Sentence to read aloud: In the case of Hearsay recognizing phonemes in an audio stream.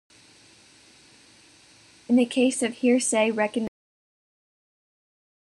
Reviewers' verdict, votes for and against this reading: rejected, 0, 2